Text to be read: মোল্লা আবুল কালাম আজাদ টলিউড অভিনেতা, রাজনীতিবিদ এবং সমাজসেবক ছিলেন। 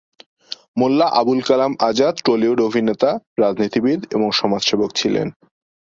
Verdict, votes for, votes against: accepted, 8, 0